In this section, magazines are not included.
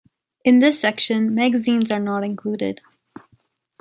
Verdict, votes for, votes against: accepted, 2, 0